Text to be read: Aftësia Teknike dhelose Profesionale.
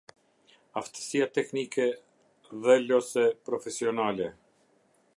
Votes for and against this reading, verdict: 0, 2, rejected